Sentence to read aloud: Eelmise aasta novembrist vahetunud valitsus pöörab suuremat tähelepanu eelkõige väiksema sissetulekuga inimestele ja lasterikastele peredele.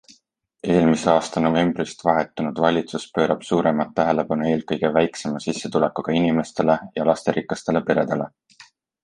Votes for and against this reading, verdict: 2, 0, accepted